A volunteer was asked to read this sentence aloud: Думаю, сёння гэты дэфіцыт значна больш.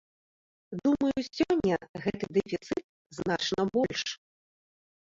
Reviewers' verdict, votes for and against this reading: accepted, 2, 1